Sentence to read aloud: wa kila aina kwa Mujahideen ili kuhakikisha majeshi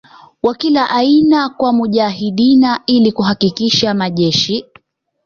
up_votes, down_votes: 2, 0